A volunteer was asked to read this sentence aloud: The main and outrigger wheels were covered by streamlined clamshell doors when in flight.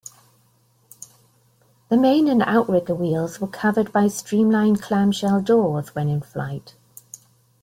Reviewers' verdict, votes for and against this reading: accepted, 2, 0